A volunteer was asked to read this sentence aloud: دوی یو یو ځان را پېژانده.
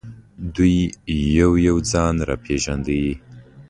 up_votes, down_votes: 2, 0